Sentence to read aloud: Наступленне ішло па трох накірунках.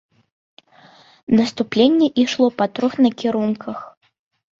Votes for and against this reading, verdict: 2, 0, accepted